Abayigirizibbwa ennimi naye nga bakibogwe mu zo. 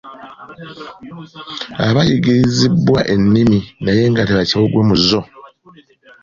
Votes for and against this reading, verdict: 0, 2, rejected